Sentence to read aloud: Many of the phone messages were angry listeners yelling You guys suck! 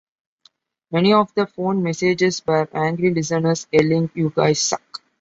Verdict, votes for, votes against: accepted, 2, 1